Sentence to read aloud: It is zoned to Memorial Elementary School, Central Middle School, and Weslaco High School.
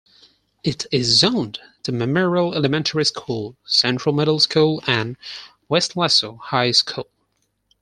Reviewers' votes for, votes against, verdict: 4, 0, accepted